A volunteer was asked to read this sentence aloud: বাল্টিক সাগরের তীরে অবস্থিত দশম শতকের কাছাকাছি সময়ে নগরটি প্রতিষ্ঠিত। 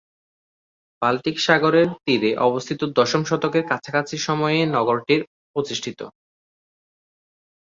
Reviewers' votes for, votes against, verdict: 0, 2, rejected